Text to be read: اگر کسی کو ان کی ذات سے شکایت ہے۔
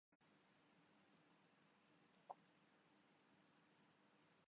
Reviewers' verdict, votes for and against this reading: rejected, 0, 3